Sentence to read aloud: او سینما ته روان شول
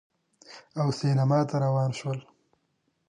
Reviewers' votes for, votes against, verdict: 1, 2, rejected